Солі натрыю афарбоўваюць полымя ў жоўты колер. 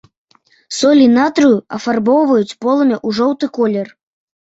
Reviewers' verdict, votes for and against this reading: accepted, 2, 0